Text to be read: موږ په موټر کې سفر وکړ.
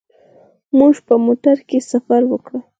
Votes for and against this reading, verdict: 0, 4, rejected